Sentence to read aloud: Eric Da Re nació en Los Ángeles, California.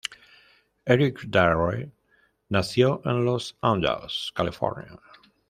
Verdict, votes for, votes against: rejected, 1, 2